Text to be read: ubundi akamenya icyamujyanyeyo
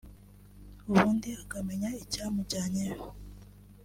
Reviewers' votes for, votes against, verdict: 2, 0, accepted